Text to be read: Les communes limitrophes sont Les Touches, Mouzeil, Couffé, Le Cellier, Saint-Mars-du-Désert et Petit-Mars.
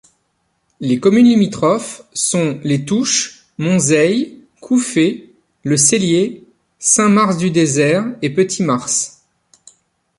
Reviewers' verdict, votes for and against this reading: rejected, 1, 2